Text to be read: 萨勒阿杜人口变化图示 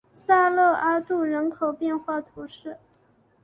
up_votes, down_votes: 3, 0